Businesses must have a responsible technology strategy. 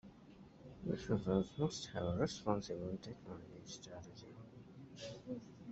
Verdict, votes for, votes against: rejected, 0, 2